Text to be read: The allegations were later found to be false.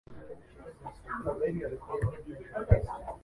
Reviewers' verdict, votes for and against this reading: rejected, 0, 2